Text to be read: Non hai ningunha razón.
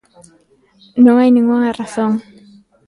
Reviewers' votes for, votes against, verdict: 1, 2, rejected